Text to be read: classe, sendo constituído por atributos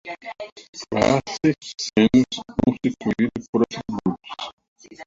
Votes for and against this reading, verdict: 0, 2, rejected